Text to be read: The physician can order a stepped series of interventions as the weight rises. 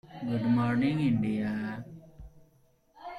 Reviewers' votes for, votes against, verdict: 0, 2, rejected